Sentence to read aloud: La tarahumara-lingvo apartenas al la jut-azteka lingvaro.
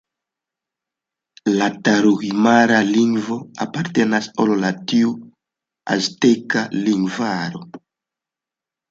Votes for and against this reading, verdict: 2, 1, accepted